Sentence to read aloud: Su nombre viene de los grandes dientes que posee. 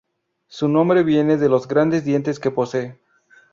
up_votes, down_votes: 0, 2